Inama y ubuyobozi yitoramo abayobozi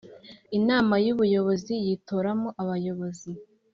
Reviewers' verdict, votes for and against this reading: accepted, 2, 0